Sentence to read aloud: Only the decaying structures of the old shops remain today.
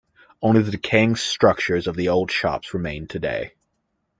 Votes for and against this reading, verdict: 2, 0, accepted